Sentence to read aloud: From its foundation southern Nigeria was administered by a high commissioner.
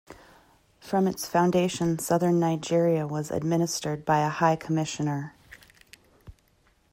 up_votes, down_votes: 2, 0